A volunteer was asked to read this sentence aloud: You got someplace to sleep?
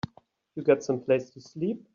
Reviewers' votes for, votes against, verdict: 3, 0, accepted